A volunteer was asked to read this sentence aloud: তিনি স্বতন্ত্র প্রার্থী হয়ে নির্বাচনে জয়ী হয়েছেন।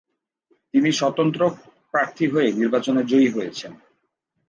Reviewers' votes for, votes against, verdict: 0, 2, rejected